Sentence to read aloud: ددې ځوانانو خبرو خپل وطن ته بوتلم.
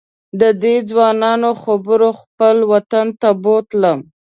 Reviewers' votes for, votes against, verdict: 2, 0, accepted